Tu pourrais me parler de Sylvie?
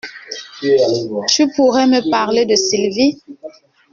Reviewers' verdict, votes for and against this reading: accepted, 2, 1